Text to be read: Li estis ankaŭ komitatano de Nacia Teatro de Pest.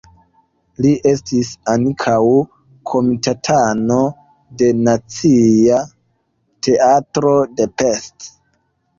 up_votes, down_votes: 2, 0